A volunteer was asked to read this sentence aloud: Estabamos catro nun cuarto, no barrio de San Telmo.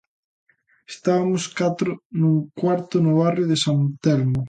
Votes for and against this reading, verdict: 1, 2, rejected